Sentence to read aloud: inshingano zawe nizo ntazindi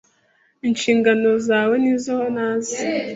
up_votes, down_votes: 1, 2